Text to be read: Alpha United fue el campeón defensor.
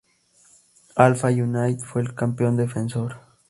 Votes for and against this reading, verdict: 0, 2, rejected